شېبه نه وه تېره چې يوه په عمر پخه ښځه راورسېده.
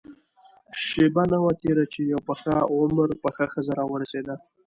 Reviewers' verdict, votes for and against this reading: accepted, 2, 0